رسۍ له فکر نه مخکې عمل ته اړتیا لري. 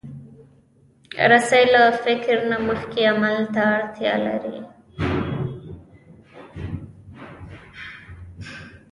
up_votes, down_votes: 1, 2